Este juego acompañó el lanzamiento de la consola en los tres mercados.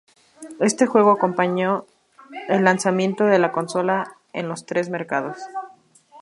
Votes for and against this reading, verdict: 2, 0, accepted